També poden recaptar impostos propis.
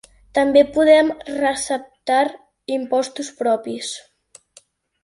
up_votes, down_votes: 1, 2